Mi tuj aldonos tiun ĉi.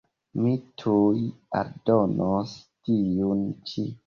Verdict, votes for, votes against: accepted, 2, 1